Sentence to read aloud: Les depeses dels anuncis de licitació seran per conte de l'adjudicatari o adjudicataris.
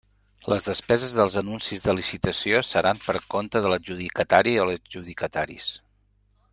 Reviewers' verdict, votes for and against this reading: rejected, 1, 2